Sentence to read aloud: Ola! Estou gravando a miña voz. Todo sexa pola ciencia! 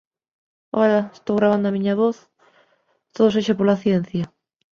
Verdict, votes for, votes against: rejected, 0, 2